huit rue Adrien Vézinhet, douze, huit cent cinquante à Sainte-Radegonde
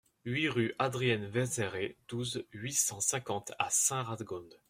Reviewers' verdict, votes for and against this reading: rejected, 1, 2